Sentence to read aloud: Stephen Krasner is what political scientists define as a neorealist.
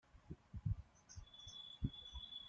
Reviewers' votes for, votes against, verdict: 0, 2, rejected